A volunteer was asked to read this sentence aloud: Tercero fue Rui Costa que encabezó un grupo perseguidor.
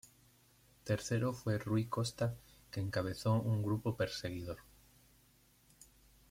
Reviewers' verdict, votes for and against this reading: accepted, 2, 0